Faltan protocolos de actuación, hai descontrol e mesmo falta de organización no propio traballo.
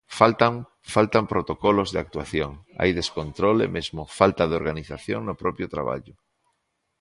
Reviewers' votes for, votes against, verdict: 0, 2, rejected